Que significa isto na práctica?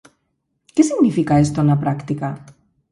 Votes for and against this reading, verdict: 2, 4, rejected